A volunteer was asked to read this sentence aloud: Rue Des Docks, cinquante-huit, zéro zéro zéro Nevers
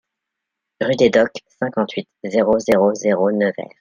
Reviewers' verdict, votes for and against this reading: accepted, 2, 0